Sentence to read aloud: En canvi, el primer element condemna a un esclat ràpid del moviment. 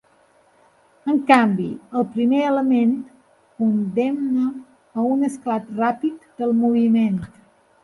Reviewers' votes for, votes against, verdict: 1, 2, rejected